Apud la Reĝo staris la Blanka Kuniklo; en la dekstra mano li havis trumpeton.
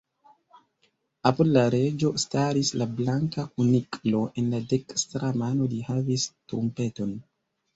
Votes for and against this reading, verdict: 2, 0, accepted